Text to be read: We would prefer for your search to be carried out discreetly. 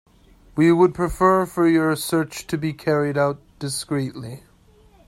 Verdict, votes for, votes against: accepted, 2, 0